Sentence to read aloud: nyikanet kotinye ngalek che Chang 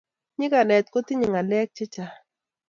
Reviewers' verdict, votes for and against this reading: accepted, 2, 0